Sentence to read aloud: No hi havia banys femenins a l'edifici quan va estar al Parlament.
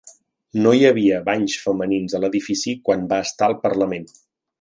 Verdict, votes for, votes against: accepted, 3, 0